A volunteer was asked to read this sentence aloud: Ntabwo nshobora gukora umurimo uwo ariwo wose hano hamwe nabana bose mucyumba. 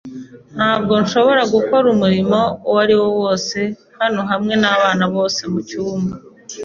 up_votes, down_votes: 2, 0